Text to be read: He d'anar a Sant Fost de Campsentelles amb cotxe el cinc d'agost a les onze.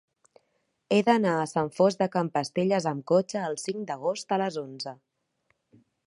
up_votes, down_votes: 0, 2